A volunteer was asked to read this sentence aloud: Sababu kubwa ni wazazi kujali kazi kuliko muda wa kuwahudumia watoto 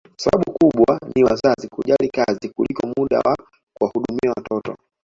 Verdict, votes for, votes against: rejected, 1, 2